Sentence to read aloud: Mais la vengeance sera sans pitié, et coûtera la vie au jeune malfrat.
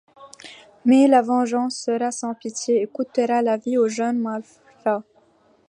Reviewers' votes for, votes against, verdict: 2, 0, accepted